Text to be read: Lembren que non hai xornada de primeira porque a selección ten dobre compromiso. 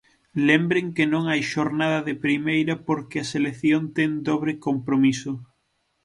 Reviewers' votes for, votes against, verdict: 6, 0, accepted